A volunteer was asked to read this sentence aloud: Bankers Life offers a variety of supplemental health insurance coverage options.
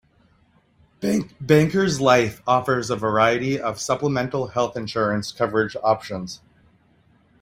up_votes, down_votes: 1, 2